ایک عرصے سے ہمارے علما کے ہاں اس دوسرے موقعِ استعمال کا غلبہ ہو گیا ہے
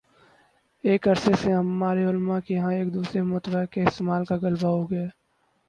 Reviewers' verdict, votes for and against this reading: rejected, 0, 2